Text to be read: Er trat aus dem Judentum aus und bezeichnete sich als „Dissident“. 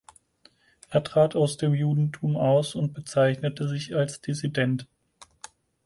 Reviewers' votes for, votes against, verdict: 4, 0, accepted